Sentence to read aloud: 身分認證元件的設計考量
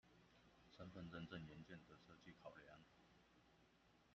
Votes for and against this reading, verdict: 1, 2, rejected